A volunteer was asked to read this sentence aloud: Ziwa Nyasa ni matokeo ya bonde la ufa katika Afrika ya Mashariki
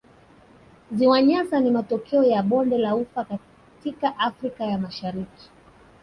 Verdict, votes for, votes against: accepted, 3, 1